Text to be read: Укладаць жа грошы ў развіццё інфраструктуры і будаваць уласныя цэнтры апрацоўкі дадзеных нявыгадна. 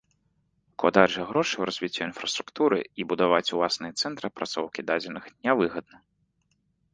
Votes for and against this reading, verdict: 2, 0, accepted